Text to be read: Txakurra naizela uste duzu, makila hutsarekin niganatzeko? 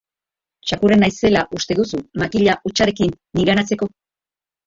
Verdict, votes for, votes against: rejected, 0, 2